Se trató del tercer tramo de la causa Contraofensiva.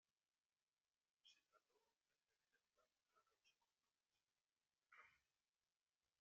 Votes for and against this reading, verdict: 0, 2, rejected